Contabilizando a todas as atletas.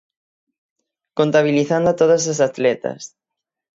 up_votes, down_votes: 6, 0